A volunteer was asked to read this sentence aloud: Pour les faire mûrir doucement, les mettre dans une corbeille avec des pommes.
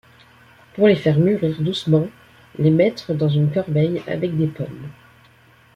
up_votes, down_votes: 2, 0